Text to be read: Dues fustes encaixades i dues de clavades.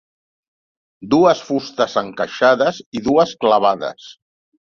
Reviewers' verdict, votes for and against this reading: rejected, 0, 2